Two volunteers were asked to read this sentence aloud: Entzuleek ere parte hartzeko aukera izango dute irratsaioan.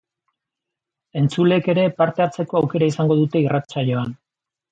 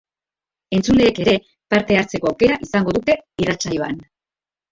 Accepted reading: first